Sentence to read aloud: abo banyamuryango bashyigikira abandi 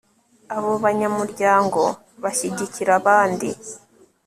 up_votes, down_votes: 2, 0